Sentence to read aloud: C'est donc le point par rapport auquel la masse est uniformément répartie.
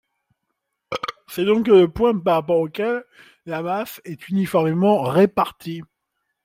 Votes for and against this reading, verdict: 1, 2, rejected